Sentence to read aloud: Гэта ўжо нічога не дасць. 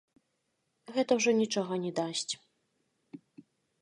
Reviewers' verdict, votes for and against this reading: accepted, 3, 1